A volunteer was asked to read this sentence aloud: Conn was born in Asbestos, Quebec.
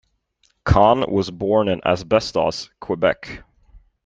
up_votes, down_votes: 2, 0